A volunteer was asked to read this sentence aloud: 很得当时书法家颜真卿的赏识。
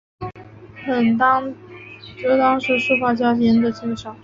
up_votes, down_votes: 1, 2